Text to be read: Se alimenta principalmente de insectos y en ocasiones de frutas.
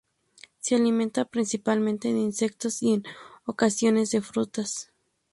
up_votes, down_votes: 0, 2